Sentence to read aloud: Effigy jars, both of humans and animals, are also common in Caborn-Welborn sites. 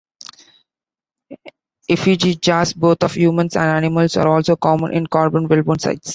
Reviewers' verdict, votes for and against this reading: accepted, 2, 0